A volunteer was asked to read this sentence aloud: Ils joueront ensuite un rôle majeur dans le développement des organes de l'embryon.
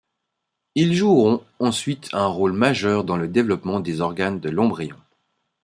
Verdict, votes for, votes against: accepted, 5, 0